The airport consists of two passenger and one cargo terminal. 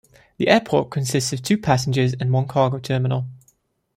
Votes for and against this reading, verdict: 0, 2, rejected